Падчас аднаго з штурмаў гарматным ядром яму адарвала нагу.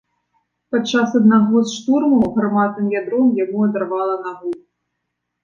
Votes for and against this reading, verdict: 2, 0, accepted